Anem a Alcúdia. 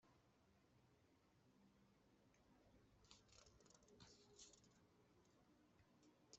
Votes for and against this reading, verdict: 0, 2, rejected